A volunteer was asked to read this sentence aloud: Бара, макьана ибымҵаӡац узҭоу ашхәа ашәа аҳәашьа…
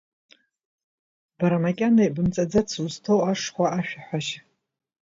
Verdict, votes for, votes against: accepted, 2, 0